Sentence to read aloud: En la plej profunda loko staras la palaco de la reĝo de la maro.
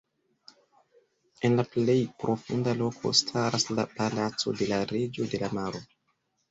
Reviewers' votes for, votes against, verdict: 3, 1, accepted